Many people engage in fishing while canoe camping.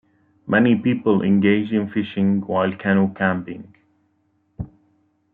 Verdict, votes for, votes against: rejected, 1, 2